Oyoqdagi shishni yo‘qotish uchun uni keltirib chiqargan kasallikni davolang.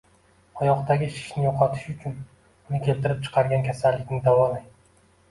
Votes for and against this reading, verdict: 2, 0, accepted